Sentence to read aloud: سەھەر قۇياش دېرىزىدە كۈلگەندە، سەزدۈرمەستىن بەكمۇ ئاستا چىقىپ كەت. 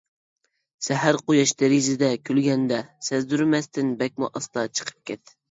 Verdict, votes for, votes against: accepted, 2, 0